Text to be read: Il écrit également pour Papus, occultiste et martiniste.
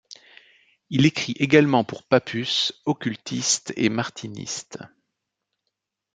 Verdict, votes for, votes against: accepted, 2, 0